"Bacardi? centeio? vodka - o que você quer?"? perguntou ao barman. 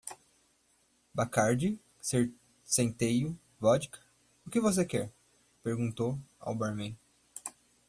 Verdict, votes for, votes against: rejected, 1, 2